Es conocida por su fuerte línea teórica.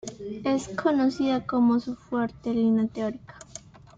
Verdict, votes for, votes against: rejected, 1, 2